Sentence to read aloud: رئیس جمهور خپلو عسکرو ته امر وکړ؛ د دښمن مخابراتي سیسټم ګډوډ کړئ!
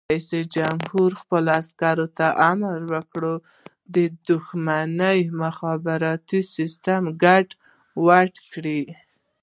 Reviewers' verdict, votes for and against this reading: rejected, 1, 2